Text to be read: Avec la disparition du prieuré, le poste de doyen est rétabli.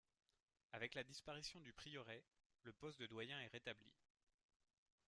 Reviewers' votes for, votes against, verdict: 0, 2, rejected